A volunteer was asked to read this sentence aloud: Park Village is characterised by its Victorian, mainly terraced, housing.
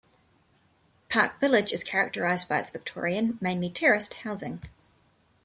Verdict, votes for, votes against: accepted, 2, 0